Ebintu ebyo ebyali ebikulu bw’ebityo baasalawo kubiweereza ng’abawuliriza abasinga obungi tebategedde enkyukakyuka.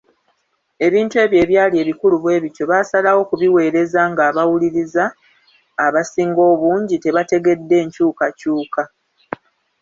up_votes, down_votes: 1, 2